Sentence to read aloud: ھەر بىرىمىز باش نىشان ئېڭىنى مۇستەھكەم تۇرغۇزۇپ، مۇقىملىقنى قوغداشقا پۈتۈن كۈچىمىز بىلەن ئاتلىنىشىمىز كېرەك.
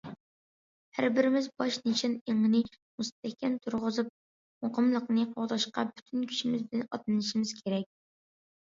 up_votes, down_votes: 2, 1